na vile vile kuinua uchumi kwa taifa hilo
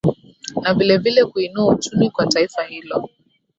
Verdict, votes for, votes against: accepted, 2, 0